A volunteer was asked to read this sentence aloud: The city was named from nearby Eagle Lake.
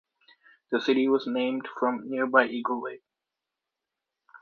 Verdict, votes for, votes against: accepted, 2, 0